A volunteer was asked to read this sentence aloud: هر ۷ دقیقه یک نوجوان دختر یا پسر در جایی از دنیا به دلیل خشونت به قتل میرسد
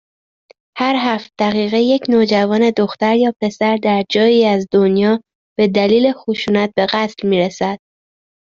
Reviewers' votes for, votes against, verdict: 0, 2, rejected